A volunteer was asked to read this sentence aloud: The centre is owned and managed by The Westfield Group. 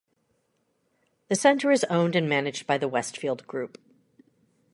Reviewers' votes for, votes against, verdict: 2, 0, accepted